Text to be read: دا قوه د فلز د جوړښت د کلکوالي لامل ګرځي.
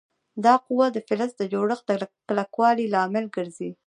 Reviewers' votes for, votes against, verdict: 0, 2, rejected